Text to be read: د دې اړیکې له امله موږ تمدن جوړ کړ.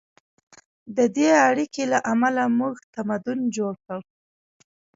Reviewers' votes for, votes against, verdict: 2, 0, accepted